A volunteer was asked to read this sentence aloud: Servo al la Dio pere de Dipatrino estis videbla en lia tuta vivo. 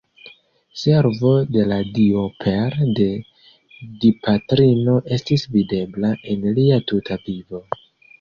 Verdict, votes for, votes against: rejected, 1, 3